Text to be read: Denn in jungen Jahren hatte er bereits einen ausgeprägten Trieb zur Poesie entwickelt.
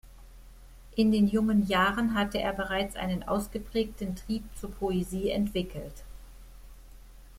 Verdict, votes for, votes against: accepted, 2, 1